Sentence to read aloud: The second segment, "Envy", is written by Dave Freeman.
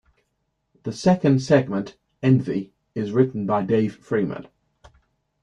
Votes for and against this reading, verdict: 2, 0, accepted